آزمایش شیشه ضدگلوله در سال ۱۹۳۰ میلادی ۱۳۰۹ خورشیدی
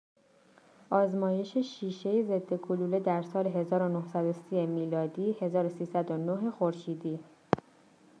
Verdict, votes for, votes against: rejected, 0, 2